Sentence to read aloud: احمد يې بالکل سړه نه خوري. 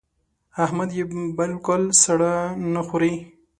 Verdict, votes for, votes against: accepted, 3, 2